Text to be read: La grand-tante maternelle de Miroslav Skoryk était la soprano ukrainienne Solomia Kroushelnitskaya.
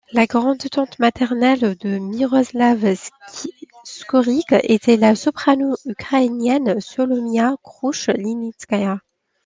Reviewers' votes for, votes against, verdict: 2, 1, accepted